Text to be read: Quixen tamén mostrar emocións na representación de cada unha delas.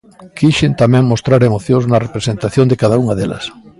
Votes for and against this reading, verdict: 2, 0, accepted